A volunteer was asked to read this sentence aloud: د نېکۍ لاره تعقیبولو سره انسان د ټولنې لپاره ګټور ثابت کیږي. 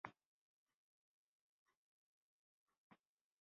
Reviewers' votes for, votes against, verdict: 0, 3, rejected